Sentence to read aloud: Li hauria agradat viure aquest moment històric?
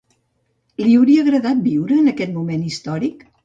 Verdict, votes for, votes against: rejected, 0, 2